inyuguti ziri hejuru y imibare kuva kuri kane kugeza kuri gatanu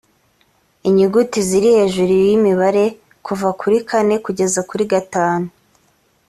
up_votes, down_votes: 2, 0